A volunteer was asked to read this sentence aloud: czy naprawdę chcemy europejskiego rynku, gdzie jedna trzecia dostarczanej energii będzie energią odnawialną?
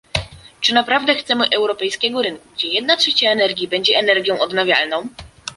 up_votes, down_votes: 1, 2